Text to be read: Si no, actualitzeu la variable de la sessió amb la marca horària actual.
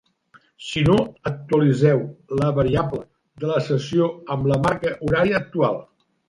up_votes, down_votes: 3, 0